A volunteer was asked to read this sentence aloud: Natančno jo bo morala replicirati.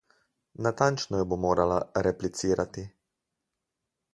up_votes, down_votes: 4, 0